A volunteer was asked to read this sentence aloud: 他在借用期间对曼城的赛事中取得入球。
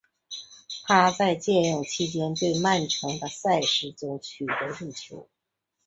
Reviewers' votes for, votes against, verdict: 2, 0, accepted